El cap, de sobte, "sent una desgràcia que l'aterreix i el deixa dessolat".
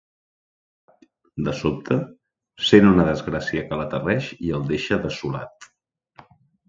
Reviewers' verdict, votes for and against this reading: rejected, 0, 2